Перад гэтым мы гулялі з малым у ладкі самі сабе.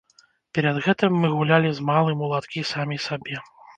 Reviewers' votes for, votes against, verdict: 1, 2, rejected